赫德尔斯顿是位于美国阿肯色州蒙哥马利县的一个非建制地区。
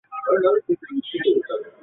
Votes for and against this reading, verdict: 3, 2, accepted